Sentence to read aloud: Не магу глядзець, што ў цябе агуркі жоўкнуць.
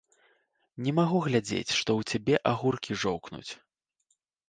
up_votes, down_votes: 1, 2